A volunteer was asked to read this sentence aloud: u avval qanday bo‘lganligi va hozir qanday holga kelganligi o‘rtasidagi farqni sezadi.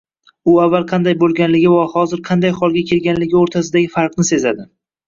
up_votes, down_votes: 1, 2